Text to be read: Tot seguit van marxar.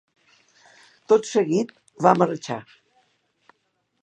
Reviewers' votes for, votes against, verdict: 0, 2, rejected